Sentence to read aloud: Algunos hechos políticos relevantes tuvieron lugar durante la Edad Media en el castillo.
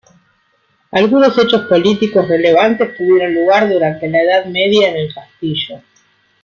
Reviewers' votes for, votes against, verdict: 1, 2, rejected